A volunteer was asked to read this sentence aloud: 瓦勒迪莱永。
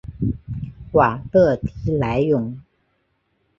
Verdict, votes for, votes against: accepted, 2, 0